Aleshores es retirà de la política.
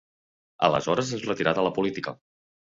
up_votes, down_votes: 2, 0